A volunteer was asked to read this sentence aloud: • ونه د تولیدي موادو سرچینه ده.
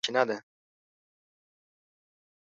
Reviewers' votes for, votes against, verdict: 0, 2, rejected